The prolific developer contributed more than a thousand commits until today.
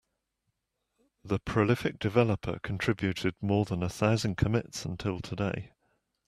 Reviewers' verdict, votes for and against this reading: accepted, 2, 0